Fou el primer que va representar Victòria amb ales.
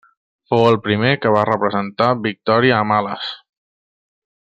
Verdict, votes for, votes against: accepted, 2, 0